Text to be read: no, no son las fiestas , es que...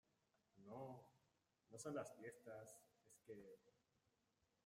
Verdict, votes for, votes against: rejected, 0, 2